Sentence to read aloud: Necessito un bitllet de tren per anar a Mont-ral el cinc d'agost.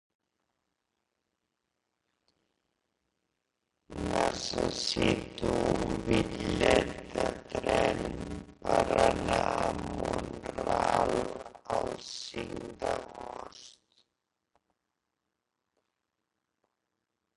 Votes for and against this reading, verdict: 0, 2, rejected